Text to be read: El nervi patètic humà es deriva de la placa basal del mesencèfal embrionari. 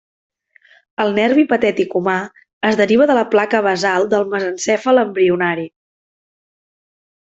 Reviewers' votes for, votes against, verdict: 2, 0, accepted